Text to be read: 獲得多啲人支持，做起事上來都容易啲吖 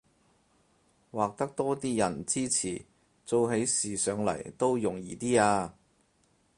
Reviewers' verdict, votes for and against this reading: accepted, 4, 0